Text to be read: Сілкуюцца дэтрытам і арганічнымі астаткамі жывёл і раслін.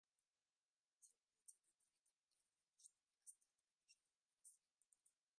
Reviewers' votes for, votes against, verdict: 0, 3, rejected